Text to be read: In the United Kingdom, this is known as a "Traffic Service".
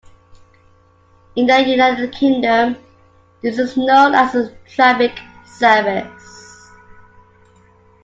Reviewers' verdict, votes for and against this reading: rejected, 0, 2